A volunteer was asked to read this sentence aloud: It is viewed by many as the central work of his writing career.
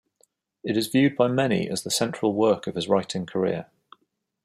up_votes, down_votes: 2, 0